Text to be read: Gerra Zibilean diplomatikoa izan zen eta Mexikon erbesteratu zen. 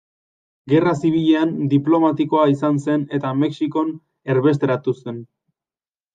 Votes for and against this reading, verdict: 2, 0, accepted